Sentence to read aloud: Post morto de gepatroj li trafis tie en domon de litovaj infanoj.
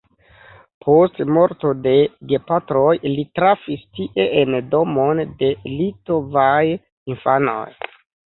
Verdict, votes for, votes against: accepted, 2, 0